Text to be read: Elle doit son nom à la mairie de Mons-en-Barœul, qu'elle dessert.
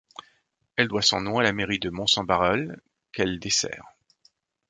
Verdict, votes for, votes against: accepted, 2, 0